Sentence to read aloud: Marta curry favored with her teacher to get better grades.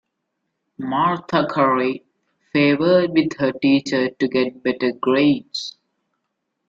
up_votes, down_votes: 2, 1